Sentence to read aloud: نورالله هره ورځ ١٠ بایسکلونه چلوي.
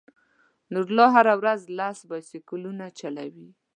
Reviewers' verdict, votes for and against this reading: rejected, 0, 2